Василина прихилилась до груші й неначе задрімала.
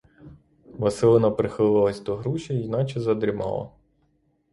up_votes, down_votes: 0, 6